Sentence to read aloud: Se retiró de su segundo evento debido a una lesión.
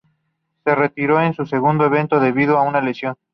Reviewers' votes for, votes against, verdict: 0, 2, rejected